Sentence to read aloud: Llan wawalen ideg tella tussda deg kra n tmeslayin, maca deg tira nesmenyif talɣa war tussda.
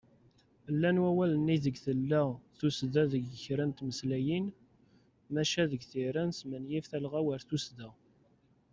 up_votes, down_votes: 2, 0